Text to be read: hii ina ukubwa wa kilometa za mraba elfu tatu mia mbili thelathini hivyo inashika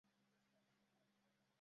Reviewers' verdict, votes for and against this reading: rejected, 0, 2